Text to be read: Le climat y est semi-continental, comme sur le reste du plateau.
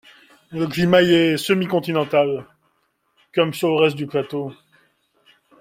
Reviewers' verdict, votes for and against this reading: accepted, 2, 0